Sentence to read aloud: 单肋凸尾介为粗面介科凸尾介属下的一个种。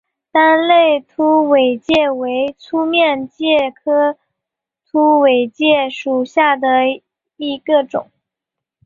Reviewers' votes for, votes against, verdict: 4, 1, accepted